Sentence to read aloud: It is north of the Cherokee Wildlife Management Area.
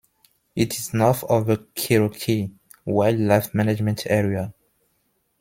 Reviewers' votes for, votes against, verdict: 2, 1, accepted